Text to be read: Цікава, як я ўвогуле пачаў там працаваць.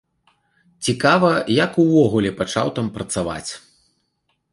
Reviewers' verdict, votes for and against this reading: rejected, 1, 2